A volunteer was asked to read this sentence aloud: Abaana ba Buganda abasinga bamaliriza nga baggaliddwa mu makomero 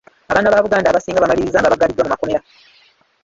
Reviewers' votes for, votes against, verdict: 0, 3, rejected